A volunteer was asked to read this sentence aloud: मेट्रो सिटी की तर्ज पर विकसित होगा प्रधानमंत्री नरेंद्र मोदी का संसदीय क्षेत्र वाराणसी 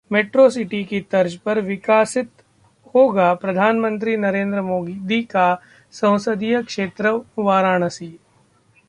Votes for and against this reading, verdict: 1, 2, rejected